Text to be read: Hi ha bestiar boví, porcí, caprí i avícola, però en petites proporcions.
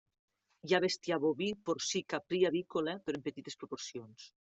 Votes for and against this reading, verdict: 2, 0, accepted